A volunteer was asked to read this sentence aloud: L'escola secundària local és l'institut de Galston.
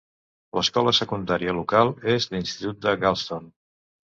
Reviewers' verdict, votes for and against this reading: accepted, 2, 0